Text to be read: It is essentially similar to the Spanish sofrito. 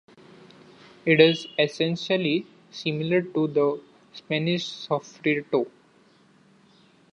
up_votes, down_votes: 2, 0